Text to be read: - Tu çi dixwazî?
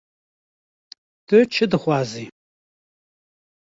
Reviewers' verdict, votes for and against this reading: accepted, 2, 0